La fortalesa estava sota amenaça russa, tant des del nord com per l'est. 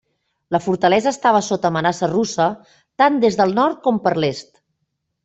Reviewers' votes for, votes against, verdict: 3, 0, accepted